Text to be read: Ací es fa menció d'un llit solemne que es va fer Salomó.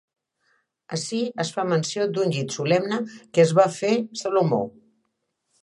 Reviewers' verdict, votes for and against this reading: accepted, 2, 0